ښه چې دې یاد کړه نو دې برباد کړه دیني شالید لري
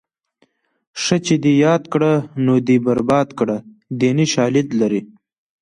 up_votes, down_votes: 2, 0